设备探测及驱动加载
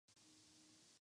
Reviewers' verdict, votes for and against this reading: rejected, 0, 3